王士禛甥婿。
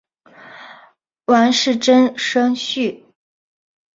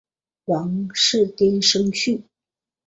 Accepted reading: first